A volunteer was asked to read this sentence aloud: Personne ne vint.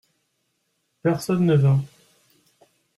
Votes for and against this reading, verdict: 2, 0, accepted